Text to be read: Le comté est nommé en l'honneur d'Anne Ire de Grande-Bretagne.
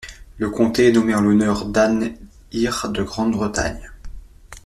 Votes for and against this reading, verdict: 2, 0, accepted